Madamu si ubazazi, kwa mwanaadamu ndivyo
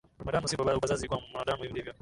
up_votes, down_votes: 0, 2